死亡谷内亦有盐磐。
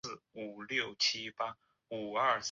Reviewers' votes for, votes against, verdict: 2, 4, rejected